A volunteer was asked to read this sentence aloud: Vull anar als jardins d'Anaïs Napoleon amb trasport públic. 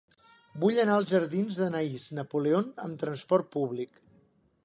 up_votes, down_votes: 2, 0